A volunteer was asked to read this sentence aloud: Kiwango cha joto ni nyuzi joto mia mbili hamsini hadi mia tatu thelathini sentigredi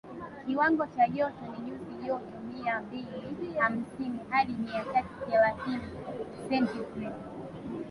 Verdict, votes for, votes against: rejected, 1, 2